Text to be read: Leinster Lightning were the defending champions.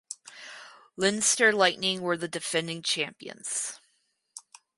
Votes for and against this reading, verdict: 4, 0, accepted